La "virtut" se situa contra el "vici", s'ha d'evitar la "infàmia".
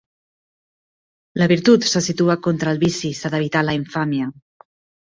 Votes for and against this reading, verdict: 2, 0, accepted